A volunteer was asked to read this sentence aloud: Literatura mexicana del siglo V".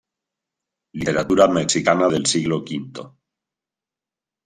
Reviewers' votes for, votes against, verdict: 2, 1, accepted